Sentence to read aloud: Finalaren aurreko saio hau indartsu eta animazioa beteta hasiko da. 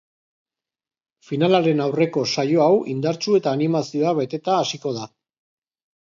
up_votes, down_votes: 4, 1